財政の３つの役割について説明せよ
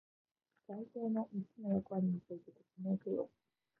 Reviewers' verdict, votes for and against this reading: rejected, 0, 2